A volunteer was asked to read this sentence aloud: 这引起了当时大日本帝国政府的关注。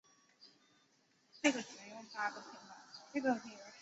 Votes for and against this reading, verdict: 0, 4, rejected